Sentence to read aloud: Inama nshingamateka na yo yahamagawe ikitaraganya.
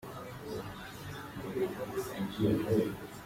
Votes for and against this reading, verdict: 0, 2, rejected